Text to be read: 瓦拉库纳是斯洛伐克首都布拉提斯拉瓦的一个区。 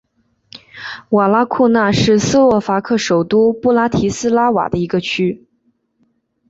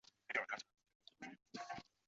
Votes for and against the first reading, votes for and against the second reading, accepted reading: 2, 0, 0, 2, first